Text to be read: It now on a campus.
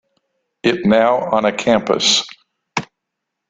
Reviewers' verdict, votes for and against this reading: rejected, 1, 2